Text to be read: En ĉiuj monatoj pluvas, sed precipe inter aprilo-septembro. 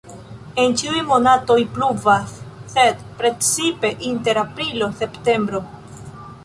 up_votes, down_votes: 1, 2